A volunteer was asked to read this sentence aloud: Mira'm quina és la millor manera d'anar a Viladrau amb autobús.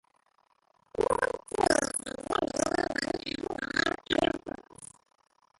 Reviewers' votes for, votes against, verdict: 0, 6, rejected